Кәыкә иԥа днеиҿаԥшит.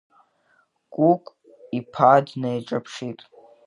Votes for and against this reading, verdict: 2, 1, accepted